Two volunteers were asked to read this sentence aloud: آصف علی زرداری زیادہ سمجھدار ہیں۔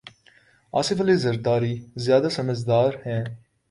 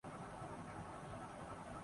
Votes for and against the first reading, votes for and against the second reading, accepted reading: 2, 0, 3, 6, first